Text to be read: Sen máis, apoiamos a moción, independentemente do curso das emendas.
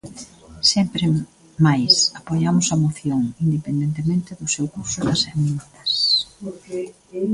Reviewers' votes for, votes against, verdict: 0, 3, rejected